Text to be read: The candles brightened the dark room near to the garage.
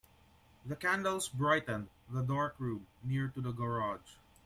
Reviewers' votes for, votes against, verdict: 2, 0, accepted